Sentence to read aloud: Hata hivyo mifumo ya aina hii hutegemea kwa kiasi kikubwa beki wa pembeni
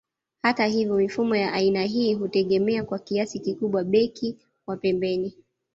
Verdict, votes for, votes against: accepted, 2, 1